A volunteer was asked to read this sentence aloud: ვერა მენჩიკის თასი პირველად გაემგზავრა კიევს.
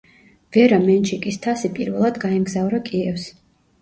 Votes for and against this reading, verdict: 2, 0, accepted